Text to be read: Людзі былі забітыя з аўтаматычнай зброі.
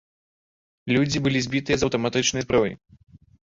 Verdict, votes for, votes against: rejected, 0, 2